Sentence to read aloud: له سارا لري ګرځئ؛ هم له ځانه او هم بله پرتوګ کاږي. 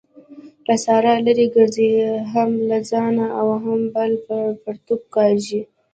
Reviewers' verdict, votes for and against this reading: rejected, 1, 2